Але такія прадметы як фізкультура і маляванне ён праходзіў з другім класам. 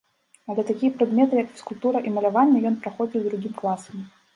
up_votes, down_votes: 1, 2